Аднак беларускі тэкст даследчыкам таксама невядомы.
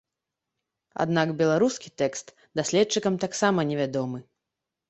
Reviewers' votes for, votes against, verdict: 2, 0, accepted